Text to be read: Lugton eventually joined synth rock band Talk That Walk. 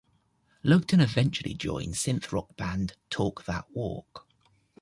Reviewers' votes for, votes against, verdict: 2, 0, accepted